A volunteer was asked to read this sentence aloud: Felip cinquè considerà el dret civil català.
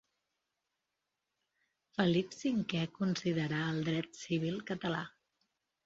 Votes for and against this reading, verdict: 1, 2, rejected